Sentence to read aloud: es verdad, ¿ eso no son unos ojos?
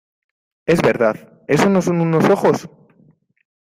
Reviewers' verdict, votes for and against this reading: accepted, 2, 0